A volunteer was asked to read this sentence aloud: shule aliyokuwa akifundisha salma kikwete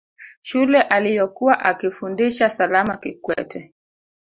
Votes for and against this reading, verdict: 0, 2, rejected